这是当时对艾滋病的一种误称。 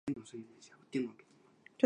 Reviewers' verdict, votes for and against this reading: rejected, 1, 4